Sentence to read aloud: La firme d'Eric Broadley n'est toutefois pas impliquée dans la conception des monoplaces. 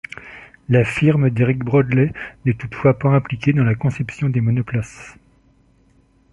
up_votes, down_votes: 2, 0